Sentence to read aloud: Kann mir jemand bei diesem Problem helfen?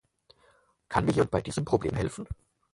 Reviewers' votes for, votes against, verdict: 0, 4, rejected